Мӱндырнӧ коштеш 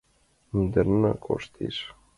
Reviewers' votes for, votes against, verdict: 2, 0, accepted